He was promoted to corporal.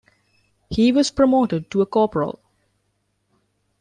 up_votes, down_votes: 0, 2